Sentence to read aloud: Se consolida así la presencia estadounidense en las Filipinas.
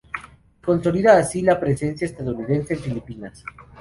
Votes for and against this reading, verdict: 0, 2, rejected